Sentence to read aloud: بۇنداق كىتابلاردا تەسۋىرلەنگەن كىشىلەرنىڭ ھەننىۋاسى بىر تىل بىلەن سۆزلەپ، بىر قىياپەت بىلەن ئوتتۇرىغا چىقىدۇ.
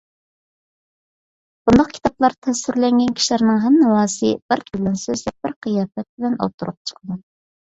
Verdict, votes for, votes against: rejected, 1, 2